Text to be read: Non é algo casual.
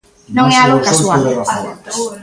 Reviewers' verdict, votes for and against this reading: rejected, 0, 2